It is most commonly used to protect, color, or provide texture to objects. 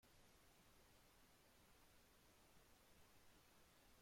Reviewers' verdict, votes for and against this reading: rejected, 0, 2